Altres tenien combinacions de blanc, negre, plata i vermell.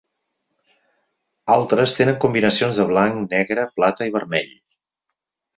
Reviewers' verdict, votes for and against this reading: rejected, 2, 4